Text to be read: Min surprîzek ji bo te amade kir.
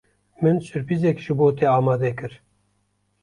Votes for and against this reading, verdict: 2, 0, accepted